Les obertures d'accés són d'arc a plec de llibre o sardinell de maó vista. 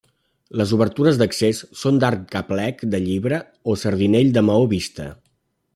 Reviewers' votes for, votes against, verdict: 2, 0, accepted